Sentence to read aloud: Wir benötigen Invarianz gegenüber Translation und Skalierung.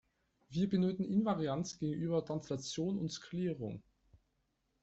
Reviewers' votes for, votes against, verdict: 1, 2, rejected